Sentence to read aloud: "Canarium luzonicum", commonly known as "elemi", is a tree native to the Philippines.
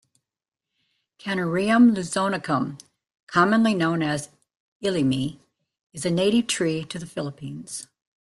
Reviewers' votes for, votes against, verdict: 1, 2, rejected